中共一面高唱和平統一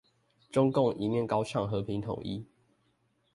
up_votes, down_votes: 2, 0